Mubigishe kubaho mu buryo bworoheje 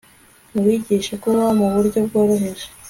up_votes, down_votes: 2, 0